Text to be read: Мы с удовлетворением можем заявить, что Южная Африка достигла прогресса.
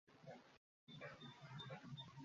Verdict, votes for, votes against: rejected, 0, 2